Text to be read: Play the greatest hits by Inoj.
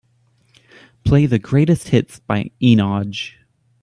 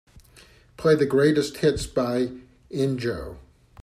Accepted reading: first